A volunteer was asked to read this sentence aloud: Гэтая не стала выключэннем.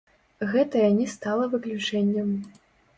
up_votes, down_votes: 0, 2